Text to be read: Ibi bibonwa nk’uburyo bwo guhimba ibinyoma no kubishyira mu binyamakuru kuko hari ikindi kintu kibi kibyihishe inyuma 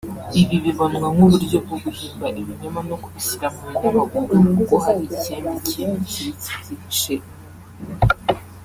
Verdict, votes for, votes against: rejected, 0, 2